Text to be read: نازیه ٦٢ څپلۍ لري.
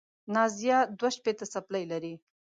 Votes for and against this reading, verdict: 0, 2, rejected